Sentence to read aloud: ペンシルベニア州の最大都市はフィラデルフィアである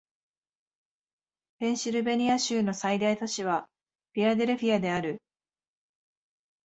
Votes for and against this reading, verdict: 2, 0, accepted